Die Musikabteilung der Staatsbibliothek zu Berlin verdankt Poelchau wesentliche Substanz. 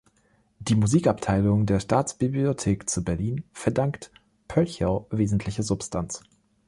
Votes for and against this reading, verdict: 2, 0, accepted